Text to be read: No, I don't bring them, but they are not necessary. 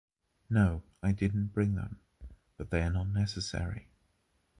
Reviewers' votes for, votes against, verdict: 0, 2, rejected